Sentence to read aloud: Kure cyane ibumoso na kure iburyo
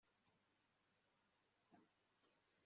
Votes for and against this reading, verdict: 0, 2, rejected